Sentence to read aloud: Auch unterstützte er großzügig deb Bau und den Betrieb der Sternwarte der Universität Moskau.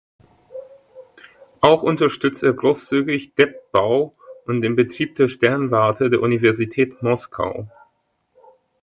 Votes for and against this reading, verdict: 2, 1, accepted